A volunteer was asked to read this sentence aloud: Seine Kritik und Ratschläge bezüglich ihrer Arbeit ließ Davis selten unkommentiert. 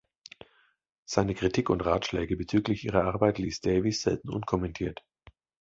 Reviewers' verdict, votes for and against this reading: accepted, 2, 0